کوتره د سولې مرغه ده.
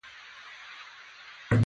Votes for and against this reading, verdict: 0, 2, rejected